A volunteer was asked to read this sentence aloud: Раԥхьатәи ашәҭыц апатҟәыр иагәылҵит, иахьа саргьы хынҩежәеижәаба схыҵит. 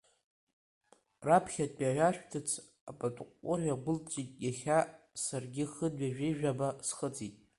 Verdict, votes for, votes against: rejected, 1, 2